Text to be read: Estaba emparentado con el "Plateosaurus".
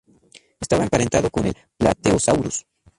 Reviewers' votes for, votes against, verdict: 0, 2, rejected